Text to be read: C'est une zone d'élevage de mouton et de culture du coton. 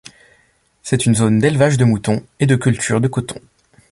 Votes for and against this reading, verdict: 0, 2, rejected